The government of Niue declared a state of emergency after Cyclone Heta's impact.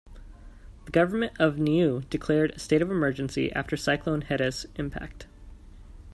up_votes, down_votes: 2, 0